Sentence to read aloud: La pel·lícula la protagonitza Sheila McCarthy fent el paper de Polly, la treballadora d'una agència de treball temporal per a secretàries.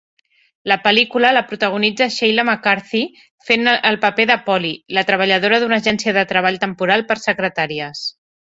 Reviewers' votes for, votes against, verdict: 0, 2, rejected